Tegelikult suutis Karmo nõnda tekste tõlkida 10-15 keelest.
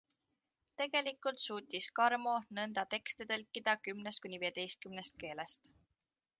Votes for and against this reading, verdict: 0, 2, rejected